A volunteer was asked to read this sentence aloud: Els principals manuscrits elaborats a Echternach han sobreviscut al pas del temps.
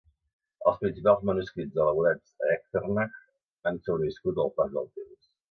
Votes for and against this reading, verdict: 2, 4, rejected